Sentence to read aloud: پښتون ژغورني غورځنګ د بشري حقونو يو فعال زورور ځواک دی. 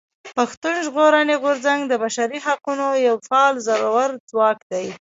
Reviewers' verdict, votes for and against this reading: rejected, 0, 2